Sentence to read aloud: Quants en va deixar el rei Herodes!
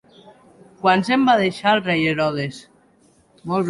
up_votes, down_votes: 2, 1